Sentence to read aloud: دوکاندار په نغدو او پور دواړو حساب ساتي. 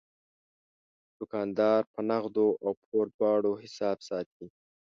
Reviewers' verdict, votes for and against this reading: accepted, 2, 1